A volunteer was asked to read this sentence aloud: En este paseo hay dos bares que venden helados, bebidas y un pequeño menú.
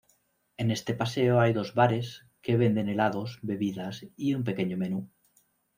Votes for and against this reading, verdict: 2, 0, accepted